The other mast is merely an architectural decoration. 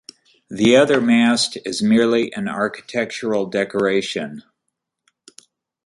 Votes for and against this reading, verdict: 2, 0, accepted